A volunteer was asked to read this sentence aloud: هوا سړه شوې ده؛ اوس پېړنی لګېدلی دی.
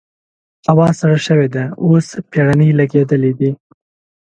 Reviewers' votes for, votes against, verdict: 2, 0, accepted